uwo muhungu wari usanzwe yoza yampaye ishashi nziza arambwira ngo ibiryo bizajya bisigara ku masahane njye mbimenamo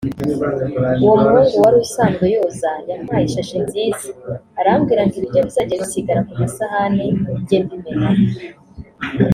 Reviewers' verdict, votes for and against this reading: rejected, 0, 2